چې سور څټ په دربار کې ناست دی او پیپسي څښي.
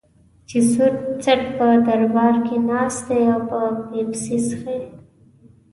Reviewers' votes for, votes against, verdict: 2, 1, accepted